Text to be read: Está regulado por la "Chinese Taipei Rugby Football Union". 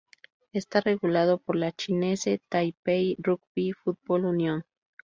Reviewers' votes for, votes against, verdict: 2, 0, accepted